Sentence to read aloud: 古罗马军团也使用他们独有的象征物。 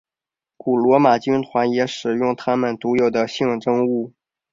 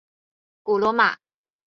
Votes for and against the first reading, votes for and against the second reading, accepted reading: 2, 1, 0, 4, first